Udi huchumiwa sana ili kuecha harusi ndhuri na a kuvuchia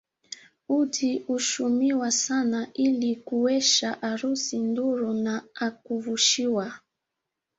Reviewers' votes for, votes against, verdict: 2, 1, accepted